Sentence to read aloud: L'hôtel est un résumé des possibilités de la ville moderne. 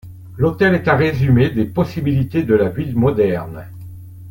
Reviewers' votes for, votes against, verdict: 2, 0, accepted